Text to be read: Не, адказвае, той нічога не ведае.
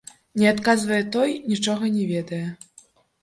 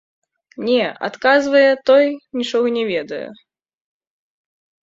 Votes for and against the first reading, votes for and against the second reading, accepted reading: 0, 2, 2, 1, second